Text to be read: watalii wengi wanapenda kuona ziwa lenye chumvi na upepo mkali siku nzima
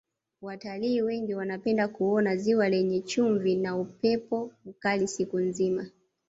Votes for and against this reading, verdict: 2, 0, accepted